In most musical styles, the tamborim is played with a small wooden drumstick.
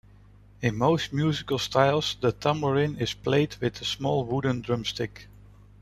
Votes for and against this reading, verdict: 2, 0, accepted